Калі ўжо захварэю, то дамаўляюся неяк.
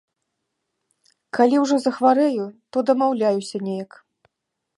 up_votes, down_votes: 2, 0